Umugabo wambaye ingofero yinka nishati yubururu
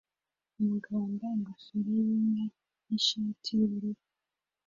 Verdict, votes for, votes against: accepted, 2, 0